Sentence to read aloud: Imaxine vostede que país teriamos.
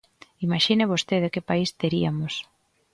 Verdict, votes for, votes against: rejected, 1, 2